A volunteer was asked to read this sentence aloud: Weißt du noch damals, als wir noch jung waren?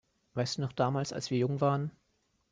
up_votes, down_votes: 3, 2